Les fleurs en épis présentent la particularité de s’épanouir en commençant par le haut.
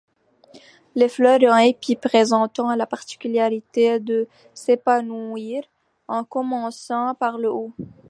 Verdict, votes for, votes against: rejected, 1, 2